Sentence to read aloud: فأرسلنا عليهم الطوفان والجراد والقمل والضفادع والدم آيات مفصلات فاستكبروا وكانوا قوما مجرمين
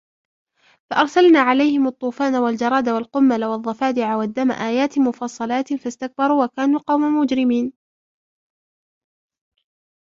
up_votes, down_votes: 1, 2